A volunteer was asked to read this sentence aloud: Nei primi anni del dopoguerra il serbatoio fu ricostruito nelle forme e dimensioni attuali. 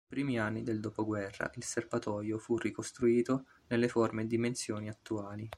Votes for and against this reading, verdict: 0, 2, rejected